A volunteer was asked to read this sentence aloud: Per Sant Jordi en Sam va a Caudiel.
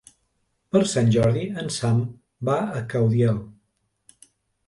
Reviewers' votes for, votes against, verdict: 3, 0, accepted